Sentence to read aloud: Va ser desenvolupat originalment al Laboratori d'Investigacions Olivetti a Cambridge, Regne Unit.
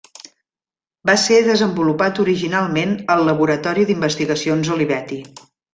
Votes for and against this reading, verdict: 0, 3, rejected